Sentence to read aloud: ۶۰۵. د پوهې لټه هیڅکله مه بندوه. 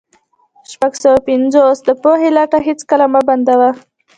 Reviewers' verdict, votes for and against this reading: rejected, 0, 2